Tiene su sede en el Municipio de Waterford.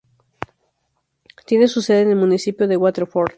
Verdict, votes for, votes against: accepted, 2, 0